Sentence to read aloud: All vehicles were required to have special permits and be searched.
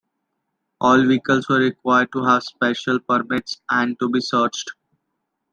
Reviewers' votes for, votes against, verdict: 0, 2, rejected